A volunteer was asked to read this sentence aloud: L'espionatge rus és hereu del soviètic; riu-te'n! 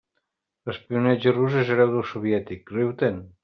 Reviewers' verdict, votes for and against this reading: accepted, 2, 0